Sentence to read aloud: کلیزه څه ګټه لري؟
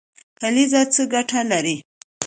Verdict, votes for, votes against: accepted, 2, 0